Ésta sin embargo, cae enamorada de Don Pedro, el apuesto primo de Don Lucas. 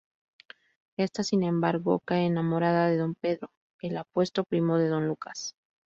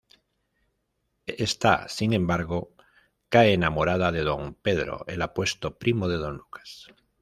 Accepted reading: first